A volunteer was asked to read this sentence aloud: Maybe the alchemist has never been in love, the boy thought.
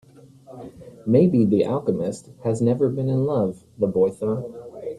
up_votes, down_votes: 1, 2